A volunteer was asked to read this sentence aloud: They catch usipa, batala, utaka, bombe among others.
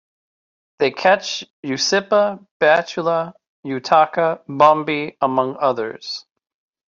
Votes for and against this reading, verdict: 2, 0, accepted